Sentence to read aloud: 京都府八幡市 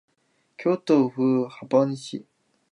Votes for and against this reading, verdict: 1, 2, rejected